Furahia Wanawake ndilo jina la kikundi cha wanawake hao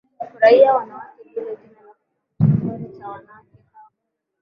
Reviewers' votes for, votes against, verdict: 0, 2, rejected